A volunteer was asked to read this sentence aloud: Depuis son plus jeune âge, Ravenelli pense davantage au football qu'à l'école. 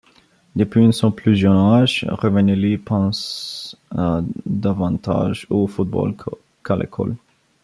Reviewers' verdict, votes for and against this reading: rejected, 1, 2